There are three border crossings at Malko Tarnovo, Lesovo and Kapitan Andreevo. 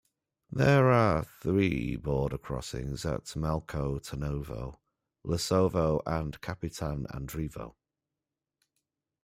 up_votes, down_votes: 1, 2